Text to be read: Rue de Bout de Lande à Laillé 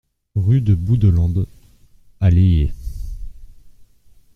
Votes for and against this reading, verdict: 1, 2, rejected